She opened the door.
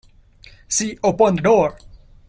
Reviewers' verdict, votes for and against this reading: rejected, 0, 2